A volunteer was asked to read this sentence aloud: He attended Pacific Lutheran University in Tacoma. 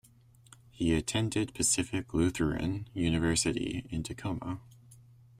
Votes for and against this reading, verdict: 2, 0, accepted